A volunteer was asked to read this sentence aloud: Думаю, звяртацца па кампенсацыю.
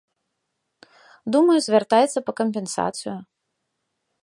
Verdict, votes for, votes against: rejected, 1, 2